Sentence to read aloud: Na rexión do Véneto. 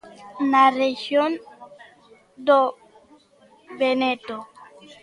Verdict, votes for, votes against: rejected, 0, 2